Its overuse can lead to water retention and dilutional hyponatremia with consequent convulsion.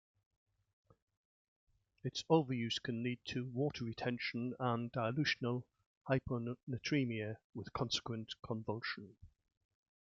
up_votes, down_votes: 2, 0